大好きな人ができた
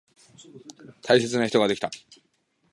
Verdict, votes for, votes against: rejected, 0, 2